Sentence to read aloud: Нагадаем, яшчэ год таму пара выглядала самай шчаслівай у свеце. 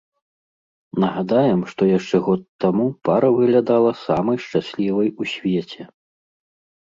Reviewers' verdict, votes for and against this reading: rejected, 2, 3